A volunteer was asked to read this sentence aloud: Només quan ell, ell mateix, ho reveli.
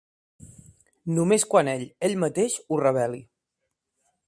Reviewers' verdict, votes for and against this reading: accepted, 2, 1